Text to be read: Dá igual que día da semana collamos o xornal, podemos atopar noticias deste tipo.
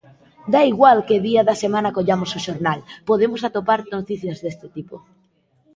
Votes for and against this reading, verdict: 2, 0, accepted